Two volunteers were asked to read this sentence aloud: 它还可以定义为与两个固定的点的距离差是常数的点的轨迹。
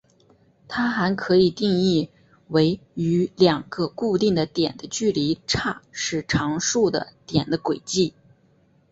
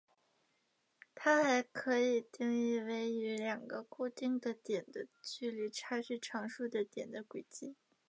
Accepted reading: first